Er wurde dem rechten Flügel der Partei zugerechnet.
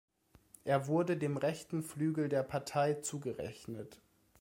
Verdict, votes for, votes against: accepted, 3, 0